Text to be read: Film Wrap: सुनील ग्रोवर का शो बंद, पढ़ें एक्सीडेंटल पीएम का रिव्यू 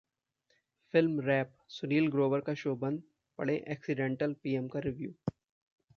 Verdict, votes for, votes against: accepted, 2, 0